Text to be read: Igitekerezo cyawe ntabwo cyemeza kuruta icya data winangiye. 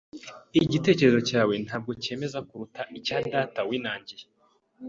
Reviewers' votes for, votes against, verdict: 3, 0, accepted